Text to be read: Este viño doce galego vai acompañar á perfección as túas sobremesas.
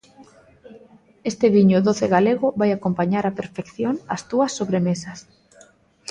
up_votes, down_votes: 2, 0